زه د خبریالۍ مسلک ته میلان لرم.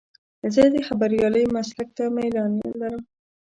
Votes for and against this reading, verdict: 0, 2, rejected